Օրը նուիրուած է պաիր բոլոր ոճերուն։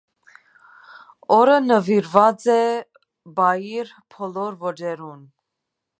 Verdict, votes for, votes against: accepted, 2, 1